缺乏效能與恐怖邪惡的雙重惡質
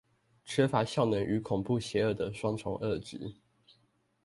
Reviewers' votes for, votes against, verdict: 2, 0, accepted